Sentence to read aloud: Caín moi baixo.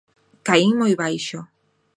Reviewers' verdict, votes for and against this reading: accepted, 2, 0